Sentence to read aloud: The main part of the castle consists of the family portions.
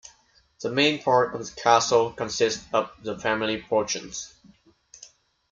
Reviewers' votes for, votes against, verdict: 2, 0, accepted